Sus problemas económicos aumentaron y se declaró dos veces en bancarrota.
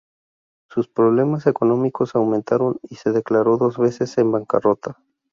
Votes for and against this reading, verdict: 2, 2, rejected